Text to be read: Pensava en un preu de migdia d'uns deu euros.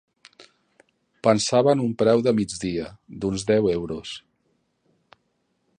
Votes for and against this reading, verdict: 3, 0, accepted